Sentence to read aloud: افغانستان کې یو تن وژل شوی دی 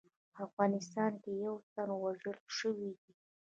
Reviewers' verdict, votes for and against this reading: rejected, 1, 2